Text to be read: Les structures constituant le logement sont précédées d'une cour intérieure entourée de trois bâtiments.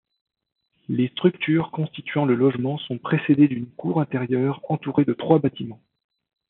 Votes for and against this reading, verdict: 1, 2, rejected